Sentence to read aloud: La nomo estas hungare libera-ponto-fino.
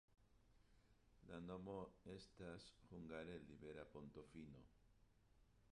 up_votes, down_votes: 0, 2